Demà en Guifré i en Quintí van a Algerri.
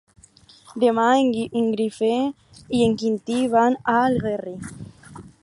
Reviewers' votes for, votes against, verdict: 2, 2, rejected